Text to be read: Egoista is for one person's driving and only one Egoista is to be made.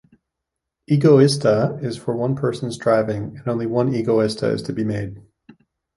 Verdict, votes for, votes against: accepted, 2, 0